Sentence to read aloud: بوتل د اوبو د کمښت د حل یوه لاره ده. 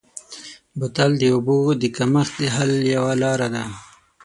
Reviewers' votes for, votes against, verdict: 6, 0, accepted